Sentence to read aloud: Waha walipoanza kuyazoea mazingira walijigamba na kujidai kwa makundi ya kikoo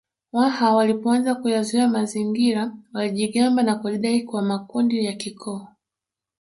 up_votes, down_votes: 2, 1